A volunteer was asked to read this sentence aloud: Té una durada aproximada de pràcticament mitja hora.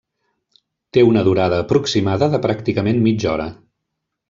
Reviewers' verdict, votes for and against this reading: accepted, 3, 0